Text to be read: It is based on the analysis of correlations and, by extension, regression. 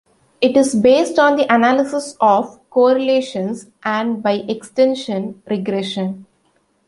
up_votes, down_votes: 2, 0